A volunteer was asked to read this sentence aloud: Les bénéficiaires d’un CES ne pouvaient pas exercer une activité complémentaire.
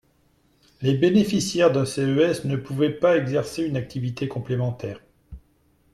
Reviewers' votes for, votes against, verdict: 2, 0, accepted